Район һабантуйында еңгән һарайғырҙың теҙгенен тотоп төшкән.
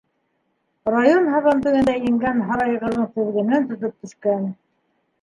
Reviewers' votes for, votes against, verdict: 0, 2, rejected